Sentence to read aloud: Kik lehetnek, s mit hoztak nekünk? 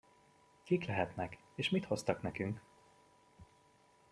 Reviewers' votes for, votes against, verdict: 1, 2, rejected